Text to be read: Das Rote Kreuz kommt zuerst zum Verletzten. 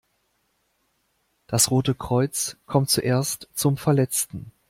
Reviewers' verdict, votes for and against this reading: accepted, 2, 0